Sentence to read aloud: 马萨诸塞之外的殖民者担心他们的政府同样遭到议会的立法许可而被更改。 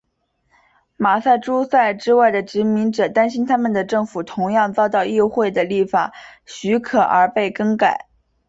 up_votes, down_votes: 3, 0